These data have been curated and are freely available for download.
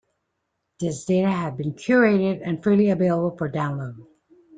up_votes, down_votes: 0, 2